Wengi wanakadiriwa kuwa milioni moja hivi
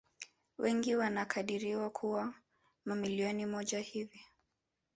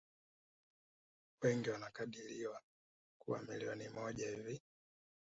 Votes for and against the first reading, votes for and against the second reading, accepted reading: 2, 0, 1, 2, first